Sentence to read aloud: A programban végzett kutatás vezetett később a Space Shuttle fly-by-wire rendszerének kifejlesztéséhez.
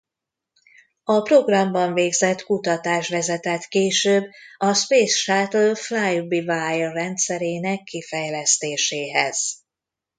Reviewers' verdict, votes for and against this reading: rejected, 0, 2